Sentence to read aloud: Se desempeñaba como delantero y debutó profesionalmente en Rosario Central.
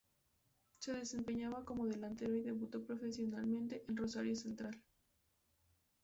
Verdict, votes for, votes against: accepted, 2, 0